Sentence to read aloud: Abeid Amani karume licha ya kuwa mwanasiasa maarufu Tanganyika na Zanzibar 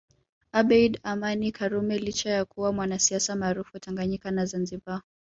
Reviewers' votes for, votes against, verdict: 1, 2, rejected